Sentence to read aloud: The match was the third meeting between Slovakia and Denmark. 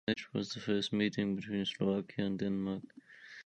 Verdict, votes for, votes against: rejected, 1, 2